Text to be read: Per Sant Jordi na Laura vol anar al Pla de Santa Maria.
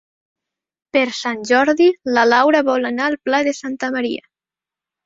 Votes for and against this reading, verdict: 4, 1, accepted